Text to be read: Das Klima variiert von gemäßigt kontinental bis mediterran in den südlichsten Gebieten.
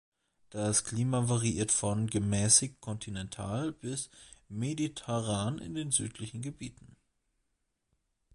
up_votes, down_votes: 0, 2